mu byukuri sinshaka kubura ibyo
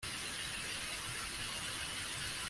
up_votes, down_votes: 0, 2